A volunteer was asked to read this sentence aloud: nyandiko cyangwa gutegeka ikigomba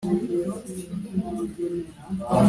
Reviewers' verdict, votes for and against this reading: rejected, 1, 2